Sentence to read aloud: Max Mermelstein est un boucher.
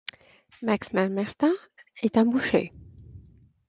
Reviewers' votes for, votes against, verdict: 1, 2, rejected